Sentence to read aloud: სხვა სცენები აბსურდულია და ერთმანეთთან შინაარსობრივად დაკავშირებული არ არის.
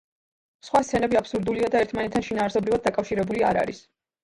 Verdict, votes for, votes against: rejected, 1, 2